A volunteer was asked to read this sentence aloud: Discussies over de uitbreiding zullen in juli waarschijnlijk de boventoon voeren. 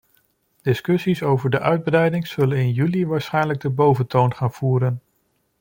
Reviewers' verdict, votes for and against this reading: rejected, 0, 2